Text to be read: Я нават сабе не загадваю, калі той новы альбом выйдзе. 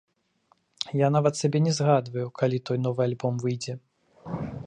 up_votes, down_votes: 2, 1